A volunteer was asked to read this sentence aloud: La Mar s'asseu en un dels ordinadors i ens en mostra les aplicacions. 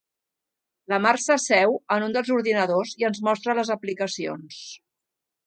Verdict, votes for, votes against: rejected, 1, 2